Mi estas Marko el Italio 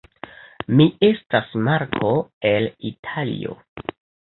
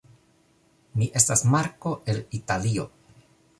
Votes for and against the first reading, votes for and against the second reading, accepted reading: 1, 3, 2, 0, second